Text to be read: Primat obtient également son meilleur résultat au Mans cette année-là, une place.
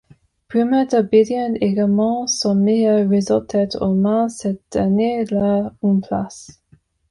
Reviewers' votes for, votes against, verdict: 0, 2, rejected